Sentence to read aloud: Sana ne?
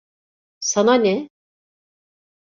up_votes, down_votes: 2, 0